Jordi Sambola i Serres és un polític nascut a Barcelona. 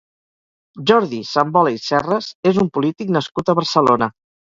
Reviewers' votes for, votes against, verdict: 2, 2, rejected